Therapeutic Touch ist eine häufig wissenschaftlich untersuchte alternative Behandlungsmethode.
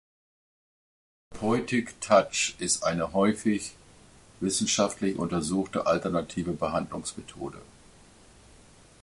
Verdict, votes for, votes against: rejected, 0, 2